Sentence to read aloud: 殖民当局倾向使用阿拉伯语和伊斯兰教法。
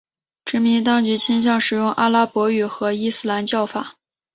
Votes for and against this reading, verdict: 1, 2, rejected